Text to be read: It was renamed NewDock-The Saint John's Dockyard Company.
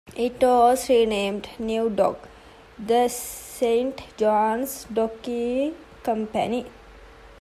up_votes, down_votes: 2, 1